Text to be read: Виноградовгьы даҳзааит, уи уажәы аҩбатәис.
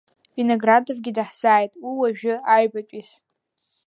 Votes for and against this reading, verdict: 0, 2, rejected